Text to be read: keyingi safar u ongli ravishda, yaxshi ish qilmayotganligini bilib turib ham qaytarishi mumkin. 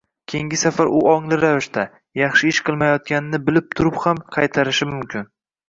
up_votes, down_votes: 1, 2